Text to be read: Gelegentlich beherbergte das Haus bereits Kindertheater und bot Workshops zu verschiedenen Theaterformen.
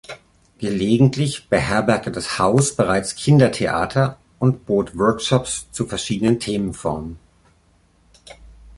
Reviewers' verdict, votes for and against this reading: rejected, 0, 3